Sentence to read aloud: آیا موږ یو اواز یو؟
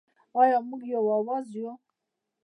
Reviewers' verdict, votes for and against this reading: rejected, 1, 2